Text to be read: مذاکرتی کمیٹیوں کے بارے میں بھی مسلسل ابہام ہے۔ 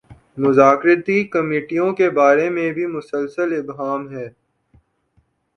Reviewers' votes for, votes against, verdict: 2, 0, accepted